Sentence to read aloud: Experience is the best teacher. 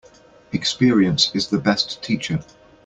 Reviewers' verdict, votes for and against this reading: accepted, 2, 0